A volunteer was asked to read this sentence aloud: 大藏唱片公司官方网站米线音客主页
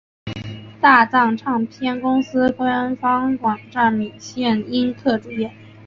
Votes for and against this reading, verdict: 0, 2, rejected